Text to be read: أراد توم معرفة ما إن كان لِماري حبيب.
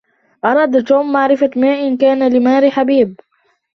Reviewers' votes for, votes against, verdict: 0, 2, rejected